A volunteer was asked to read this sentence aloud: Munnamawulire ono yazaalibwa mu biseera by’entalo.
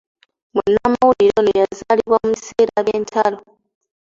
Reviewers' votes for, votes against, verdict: 2, 0, accepted